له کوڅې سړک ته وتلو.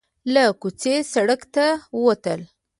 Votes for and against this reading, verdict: 0, 2, rejected